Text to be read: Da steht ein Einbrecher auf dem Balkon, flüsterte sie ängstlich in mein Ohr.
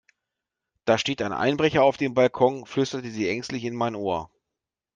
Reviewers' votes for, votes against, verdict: 2, 0, accepted